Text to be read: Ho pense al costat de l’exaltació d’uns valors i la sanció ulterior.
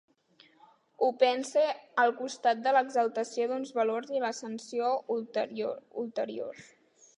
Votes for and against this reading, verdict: 0, 2, rejected